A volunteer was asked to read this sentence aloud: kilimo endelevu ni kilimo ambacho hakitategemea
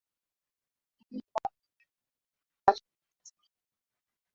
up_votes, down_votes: 0, 3